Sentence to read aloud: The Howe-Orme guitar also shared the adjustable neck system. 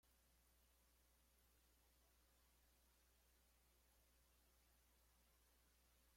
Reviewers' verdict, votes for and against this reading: rejected, 0, 2